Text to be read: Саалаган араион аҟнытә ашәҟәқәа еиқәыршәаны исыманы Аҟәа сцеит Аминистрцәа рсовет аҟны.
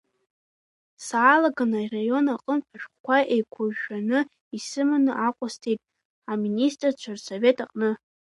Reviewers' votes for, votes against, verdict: 2, 1, accepted